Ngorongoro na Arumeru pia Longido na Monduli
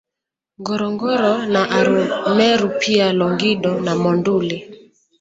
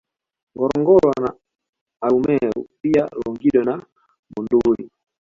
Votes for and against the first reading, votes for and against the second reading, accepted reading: 0, 2, 2, 1, second